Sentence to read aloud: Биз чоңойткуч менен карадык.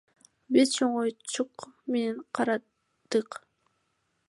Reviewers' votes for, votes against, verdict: 2, 0, accepted